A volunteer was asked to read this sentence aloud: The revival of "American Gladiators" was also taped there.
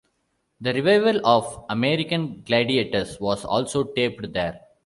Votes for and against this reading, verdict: 2, 0, accepted